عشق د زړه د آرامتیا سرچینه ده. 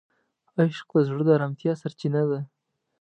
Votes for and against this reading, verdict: 2, 0, accepted